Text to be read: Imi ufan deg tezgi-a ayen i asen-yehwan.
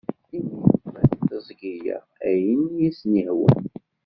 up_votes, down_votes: 0, 2